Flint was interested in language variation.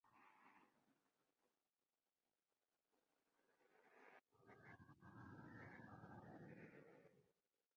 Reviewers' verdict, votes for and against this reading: rejected, 0, 2